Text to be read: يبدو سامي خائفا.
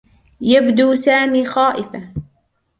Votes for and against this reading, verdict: 2, 0, accepted